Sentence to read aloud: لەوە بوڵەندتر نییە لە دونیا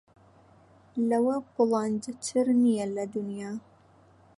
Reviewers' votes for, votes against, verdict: 2, 0, accepted